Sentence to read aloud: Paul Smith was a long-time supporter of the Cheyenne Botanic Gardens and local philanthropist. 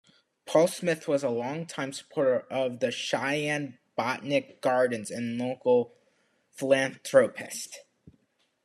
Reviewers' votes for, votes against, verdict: 1, 2, rejected